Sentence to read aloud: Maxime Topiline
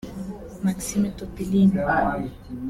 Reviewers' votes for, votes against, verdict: 1, 2, rejected